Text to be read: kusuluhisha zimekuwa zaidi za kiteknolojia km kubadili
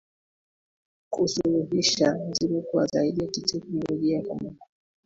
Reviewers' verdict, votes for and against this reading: rejected, 4, 16